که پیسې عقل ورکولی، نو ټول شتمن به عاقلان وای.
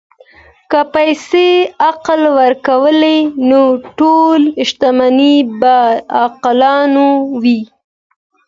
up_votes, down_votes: 2, 0